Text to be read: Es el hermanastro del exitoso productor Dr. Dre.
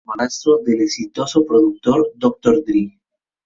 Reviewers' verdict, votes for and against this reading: accepted, 2, 0